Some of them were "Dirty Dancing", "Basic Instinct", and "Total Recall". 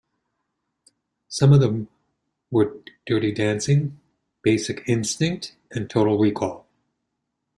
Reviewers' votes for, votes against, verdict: 2, 0, accepted